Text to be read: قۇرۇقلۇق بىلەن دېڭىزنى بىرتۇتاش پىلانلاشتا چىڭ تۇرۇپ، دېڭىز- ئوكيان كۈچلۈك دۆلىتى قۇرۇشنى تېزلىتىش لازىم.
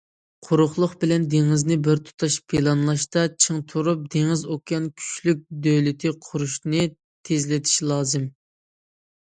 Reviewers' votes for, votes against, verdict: 2, 0, accepted